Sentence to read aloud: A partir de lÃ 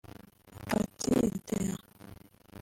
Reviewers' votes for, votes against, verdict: 1, 2, rejected